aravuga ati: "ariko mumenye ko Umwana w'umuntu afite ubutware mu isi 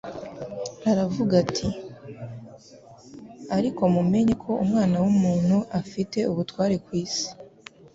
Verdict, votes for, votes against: rejected, 1, 2